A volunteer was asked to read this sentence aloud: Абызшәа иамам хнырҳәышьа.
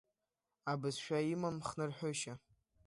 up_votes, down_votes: 0, 2